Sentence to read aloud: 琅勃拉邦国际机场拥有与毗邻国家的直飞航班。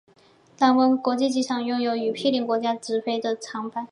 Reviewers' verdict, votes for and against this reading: accepted, 2, 0